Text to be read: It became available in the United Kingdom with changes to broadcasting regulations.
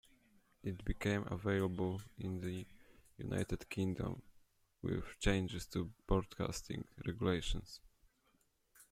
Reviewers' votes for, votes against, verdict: 2, 1, accepted